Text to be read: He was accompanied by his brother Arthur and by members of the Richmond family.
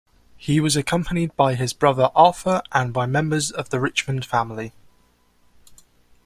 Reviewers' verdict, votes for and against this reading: accepted, 2, 0